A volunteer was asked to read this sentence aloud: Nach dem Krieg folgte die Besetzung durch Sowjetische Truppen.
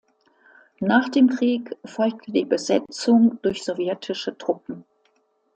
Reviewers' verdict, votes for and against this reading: accepted, 2, 0